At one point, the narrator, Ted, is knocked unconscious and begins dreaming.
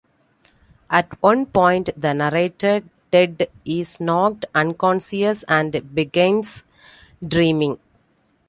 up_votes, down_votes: 2, 1